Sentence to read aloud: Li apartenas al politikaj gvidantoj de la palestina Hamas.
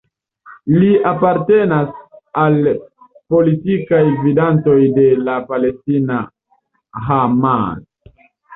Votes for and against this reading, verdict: 1, 2, rejected